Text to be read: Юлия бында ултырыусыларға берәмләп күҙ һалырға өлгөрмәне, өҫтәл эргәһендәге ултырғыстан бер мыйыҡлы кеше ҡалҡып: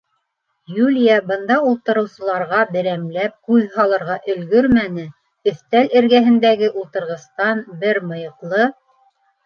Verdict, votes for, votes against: rejected, 0, 2